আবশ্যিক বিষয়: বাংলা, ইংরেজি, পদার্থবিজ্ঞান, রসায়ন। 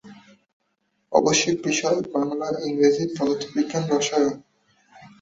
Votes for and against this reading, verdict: 2, 0, accepted